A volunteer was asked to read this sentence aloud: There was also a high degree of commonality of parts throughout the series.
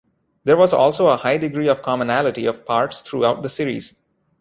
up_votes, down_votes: 2, 0